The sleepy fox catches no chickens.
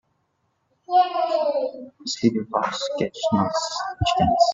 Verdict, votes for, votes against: rejected, 0, 2